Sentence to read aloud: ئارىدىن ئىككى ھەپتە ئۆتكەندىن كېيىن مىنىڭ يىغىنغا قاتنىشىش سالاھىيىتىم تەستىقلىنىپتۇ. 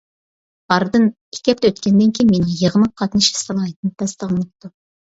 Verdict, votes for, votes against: rejected, 0, 2